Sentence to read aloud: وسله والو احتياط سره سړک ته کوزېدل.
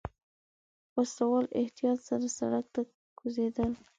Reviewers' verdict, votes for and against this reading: accepted, 2, 1